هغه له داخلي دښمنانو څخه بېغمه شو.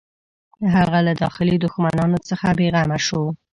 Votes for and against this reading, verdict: 1, 2, rejected